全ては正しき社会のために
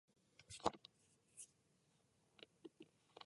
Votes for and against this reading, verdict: 0, 2, rejected